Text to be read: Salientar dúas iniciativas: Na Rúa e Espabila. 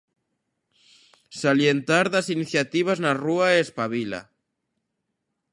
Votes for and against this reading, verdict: 1, 2, rejected